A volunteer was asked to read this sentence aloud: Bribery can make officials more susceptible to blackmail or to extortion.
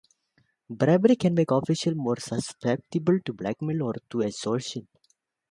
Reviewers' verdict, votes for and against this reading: rejected, 0, 2